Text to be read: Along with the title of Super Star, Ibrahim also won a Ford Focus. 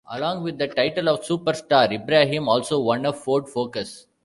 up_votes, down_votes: 2, 0